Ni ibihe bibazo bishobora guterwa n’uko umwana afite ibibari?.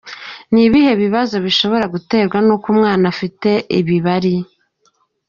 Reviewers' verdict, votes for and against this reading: accepted, 2, 0